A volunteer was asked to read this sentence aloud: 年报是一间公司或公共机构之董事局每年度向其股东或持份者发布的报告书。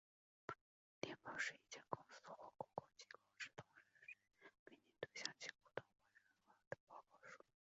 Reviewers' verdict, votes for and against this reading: rejected, 0, 3